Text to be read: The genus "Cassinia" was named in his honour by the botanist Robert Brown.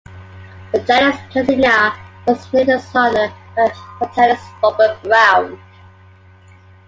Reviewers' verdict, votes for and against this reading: rejected, 0, 3